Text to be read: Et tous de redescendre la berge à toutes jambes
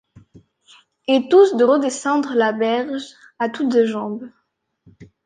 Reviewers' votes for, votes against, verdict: 0, 2, rejected